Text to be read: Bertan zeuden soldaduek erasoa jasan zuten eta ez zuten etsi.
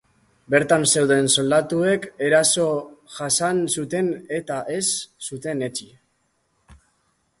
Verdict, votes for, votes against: rejected, 0, 2